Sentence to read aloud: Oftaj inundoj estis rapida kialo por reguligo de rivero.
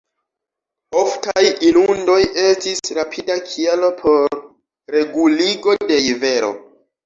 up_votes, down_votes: 0, 2